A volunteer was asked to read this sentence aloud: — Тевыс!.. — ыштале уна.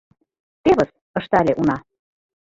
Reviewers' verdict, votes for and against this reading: accepted, 2, 0